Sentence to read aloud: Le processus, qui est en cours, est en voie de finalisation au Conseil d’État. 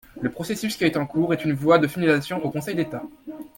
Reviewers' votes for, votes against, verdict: 0, 2, rejected